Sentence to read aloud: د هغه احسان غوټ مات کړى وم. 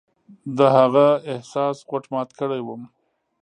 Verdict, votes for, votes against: rejected, 0, 2